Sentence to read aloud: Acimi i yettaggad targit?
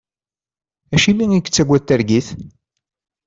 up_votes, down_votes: 2, 0